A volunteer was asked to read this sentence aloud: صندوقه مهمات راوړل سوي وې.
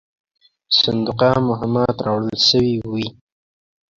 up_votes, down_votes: 2, 0